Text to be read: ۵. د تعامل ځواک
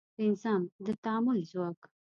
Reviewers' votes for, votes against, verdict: 0, 2, rejected